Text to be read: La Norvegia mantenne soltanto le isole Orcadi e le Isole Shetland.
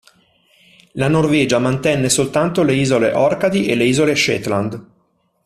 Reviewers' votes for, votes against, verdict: 2, 0, accepted